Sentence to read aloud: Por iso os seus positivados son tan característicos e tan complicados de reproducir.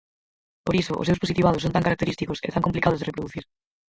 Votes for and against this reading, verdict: 0, 4, rejected